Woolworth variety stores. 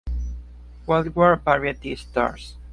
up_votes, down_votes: 0, 3